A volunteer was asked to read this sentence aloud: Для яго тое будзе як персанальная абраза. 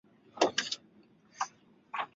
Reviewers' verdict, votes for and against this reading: rejected, 0, 2